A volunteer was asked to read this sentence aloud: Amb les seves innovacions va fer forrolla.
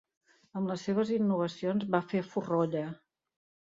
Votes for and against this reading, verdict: 2, 0, accepted